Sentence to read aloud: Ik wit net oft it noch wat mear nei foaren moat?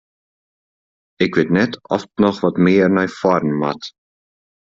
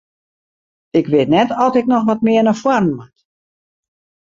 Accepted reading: first